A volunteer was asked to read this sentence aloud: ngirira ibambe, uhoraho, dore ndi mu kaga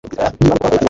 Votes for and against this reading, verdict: 0, 2, rejected